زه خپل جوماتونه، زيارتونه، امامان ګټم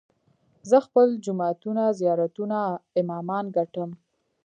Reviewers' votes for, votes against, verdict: 2, 0, accepted